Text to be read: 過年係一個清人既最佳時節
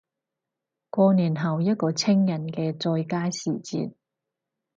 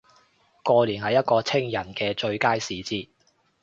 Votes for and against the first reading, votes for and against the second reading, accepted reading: 2, 4, 2, 1, second